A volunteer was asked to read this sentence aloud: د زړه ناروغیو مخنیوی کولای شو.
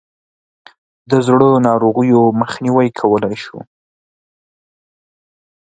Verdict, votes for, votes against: accepted, 2, 0